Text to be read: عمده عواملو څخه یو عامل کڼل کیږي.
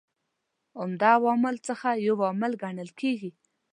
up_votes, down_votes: 2, 0